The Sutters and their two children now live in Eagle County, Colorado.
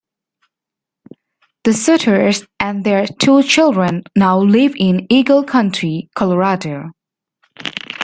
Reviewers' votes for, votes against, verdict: 1, 2, rejected